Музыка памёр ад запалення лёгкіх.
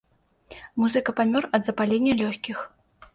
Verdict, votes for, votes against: accepted, 2, 0